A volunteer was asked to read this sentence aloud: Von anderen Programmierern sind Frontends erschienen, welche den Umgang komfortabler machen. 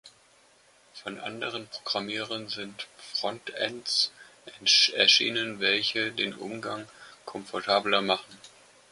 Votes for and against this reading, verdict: 1, 2, rejected